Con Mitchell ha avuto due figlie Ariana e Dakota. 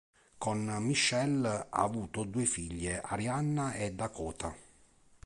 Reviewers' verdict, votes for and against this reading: rejected, 1, 2